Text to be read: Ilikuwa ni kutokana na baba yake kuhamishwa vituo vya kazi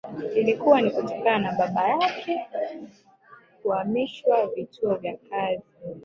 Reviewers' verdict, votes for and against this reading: rejected, 0, 2